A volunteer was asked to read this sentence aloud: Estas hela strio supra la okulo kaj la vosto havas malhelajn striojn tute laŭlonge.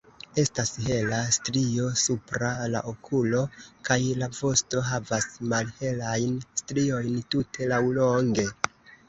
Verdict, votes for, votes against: rejected, 1, 2